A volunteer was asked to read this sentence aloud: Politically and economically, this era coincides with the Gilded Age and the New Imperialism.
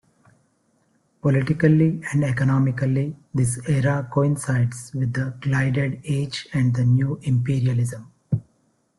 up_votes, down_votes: 1, 2